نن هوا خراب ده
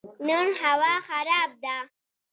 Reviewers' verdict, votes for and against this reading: rejected, 1, 2